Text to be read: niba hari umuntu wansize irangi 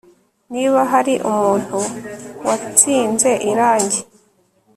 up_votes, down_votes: 2, 0